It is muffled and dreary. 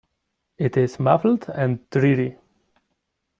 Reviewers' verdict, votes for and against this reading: rejected, 0, 2